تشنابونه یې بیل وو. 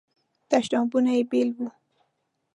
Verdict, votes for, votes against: accepted, 2, 0